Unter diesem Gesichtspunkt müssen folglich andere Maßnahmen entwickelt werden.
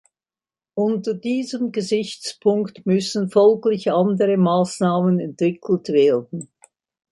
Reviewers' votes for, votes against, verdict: 2, 0, accepted